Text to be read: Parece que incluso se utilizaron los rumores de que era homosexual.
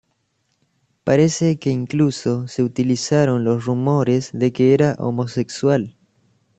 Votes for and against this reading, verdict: 2, 0, accepted